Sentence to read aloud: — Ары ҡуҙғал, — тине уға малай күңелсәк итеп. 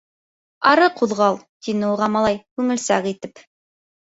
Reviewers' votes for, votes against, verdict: 3, 0, accepted